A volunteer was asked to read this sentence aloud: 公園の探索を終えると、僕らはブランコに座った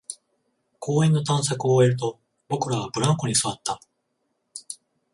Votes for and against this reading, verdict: 14, 0, accepted